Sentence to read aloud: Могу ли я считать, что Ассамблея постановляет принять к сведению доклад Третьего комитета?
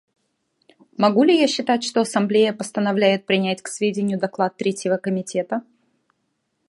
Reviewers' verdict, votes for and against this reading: accepted, 2, 0